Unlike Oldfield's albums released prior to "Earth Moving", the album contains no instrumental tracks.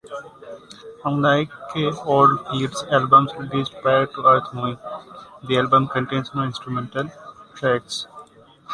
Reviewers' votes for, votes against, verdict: 2, 0, accepted